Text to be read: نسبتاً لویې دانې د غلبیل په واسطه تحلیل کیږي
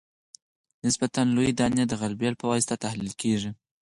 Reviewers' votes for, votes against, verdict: 4, 0, accepted